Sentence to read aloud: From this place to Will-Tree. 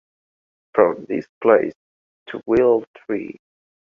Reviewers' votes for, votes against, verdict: 2, 0, accepted